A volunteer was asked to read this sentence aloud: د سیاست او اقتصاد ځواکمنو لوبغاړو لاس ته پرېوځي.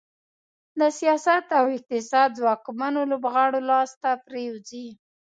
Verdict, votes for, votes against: accepted, 2, 0